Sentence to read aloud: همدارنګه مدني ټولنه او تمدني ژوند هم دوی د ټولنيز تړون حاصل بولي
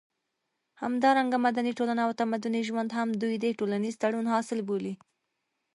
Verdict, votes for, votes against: accepted, 3, 0